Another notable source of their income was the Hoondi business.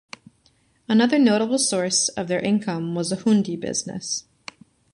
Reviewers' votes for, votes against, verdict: 2, 0, accepted